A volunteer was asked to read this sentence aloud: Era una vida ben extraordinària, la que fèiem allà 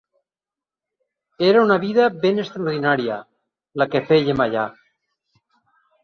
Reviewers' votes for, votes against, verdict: 2, 4, rejected